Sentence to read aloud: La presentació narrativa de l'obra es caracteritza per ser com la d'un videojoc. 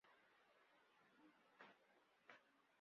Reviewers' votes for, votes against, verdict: 0, 2, rejected